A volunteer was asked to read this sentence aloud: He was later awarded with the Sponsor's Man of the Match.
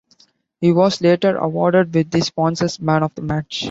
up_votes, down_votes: 2, 1